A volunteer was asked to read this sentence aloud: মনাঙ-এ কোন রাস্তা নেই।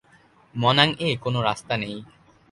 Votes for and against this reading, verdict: 2, 0, accepted